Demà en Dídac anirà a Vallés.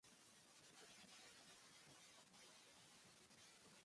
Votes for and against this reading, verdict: 0, 2, rejected